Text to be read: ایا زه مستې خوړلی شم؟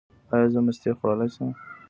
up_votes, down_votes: 1, 2